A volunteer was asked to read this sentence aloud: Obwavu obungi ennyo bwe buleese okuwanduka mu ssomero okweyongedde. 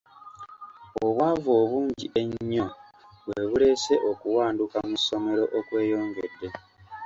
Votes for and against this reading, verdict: 2, 0, accepted